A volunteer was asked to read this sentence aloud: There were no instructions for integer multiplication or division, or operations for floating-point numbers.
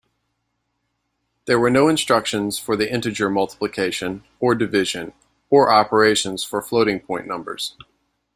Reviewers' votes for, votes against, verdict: 0, 2, rejected